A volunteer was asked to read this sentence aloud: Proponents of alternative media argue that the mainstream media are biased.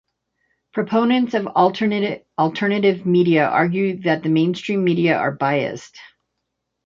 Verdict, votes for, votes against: rejected, 1, 2